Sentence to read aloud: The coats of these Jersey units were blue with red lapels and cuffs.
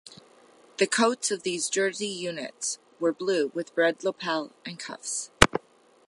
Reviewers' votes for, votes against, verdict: 1, 2, rejected